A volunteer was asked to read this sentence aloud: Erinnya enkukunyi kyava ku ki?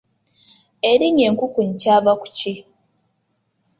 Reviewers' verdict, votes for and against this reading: accepted, 2, 0